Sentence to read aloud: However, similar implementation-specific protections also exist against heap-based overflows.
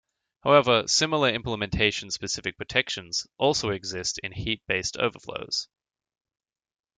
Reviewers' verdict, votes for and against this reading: rejected, 0, 2